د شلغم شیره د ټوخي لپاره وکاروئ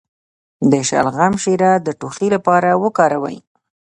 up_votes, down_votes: 2, 0